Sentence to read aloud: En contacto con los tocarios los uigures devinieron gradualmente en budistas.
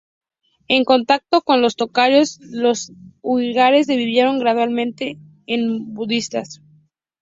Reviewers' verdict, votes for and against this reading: rejected, 0, 2